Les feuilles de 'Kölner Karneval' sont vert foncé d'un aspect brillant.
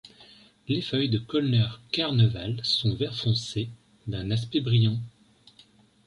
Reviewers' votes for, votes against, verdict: 2, 0, accepted